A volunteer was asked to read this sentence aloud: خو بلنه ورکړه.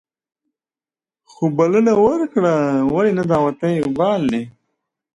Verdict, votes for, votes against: rejected, 0, 2